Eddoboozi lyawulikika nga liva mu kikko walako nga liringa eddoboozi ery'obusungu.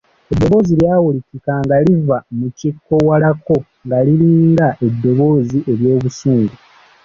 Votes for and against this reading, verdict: 2, 0, accepted